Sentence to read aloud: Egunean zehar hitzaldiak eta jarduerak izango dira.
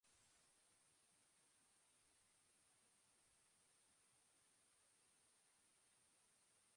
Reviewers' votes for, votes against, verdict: 1, 2, rejected